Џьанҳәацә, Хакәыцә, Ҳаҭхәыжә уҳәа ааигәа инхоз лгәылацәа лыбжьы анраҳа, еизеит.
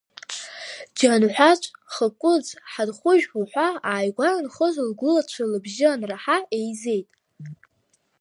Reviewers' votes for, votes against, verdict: 2, 0, accepted